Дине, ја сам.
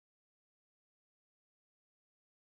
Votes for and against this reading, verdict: 0, 2, rejected